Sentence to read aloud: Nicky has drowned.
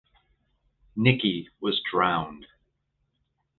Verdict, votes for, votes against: rejected, 0, 2